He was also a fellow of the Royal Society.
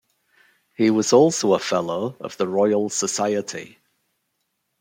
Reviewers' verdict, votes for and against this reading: accepted, 2, 0